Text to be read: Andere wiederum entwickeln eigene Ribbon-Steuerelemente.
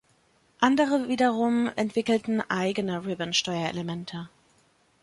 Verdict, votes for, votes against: accepted, 2, 1